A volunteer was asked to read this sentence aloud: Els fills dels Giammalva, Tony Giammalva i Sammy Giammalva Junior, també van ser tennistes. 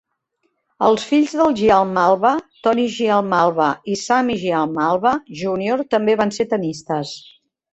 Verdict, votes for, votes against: accepted, 3, 2